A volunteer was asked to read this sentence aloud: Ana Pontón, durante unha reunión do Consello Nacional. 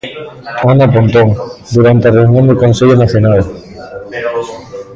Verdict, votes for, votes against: rejected, 0, 2